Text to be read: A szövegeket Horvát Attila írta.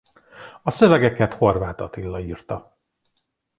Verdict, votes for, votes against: accepted, 2, 0